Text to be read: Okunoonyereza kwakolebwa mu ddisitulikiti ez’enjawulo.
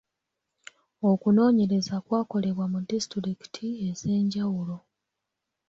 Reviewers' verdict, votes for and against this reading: accepted, 3, 2